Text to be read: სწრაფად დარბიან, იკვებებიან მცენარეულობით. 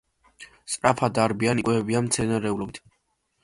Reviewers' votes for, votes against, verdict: 2, 0, accepted